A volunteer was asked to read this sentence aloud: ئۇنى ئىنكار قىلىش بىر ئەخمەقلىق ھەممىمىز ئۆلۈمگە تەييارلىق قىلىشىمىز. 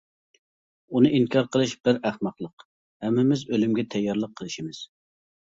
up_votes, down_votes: 2, 0